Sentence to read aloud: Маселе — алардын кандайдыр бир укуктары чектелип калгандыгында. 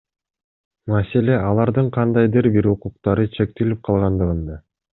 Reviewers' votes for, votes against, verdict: 2, 0, accepted